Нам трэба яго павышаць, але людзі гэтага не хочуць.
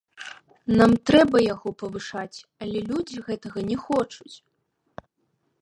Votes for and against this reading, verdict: 2, 0, accepted